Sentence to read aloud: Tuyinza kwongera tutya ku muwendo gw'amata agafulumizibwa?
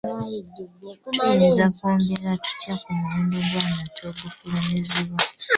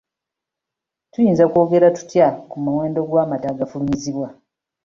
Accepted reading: second